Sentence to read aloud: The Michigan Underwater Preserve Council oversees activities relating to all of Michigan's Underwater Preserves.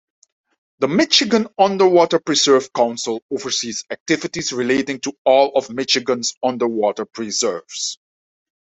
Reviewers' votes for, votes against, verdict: 2, 0, accepted